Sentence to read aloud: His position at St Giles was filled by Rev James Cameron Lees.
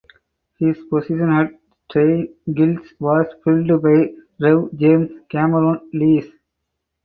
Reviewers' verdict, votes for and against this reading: accepted, 4, 2